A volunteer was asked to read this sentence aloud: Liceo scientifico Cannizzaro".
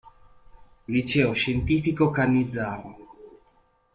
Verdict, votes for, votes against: accepted, 2, 0